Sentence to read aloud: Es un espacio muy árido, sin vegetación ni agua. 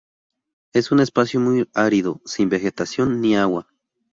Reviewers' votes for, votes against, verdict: 2, 0, accepted